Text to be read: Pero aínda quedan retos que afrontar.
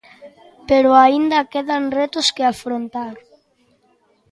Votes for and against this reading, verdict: 2, 0, accepted